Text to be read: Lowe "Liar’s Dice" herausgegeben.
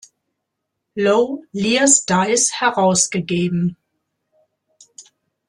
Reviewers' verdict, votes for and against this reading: rejected, 0, 2